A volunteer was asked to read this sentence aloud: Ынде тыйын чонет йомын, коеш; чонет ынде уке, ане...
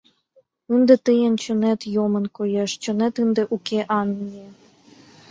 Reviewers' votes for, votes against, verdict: 2, 0, accepted